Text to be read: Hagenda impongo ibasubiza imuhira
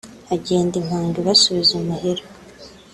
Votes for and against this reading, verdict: 2, 1, accepted